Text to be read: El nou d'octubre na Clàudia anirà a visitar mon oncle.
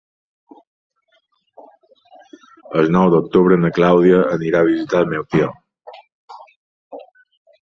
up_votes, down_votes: 1, 2